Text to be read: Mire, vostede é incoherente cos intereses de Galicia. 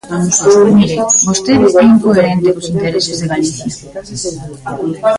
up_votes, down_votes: 0, 2